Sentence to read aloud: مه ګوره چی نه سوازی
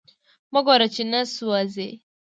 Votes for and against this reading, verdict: 2, 0, accepted